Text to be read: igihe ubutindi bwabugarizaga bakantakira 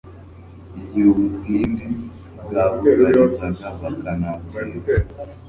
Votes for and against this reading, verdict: 0, 3, rejected